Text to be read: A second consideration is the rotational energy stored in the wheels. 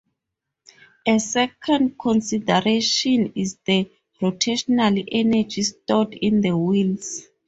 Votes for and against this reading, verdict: 4, 0, accepted